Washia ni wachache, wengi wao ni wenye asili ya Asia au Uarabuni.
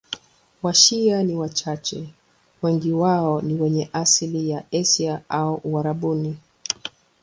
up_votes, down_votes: 10, 1